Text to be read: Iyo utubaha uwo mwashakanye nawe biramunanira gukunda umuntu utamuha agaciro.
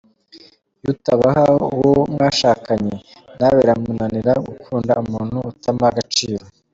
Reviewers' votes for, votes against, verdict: 1, 2, rejected